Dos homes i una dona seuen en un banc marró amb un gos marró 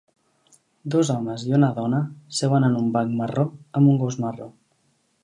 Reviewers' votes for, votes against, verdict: 3, 0, accepted